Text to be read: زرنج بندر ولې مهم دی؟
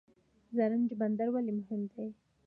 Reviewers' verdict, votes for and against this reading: rejected, 1, 2